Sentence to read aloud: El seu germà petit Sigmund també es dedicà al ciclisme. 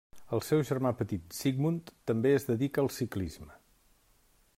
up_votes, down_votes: 1, 2